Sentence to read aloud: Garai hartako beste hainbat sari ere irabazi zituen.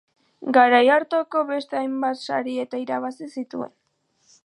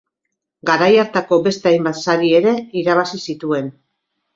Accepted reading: second